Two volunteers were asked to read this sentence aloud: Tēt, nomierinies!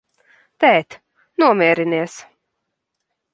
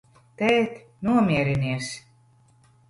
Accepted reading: first